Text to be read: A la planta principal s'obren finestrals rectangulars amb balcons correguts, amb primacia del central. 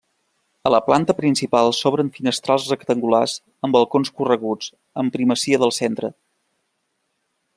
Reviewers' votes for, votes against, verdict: 0, 2, rejected